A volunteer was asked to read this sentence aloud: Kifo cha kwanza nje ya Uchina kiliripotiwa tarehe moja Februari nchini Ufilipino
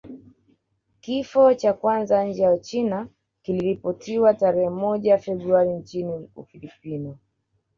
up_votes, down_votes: 2, 1